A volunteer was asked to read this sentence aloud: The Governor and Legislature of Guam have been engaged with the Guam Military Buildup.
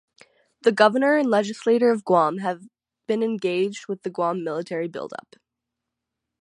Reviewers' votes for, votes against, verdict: 6, 0, accepted